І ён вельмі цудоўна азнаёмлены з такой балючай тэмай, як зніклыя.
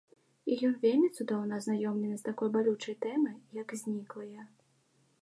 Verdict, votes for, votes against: accepted, 2, 0